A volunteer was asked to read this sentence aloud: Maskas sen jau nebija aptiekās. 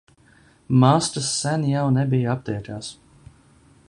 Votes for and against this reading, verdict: 0, 2, rejected